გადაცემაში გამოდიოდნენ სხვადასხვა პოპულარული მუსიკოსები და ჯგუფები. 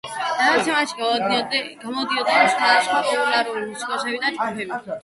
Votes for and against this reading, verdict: 1, 2, rejected